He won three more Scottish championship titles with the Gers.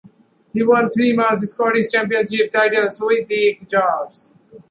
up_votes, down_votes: 2, 0